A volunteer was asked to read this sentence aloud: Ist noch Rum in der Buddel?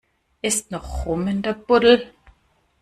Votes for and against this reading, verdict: 2, 0, accepted